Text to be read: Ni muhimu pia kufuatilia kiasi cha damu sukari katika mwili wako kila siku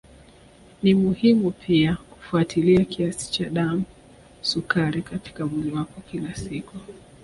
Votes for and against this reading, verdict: 4, 0, accepted